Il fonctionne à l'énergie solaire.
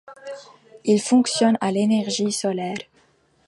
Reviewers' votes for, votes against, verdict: 2, 0, accepted